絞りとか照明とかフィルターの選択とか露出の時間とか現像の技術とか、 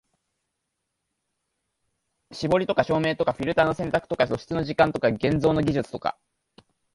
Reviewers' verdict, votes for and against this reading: accepted, 2, 0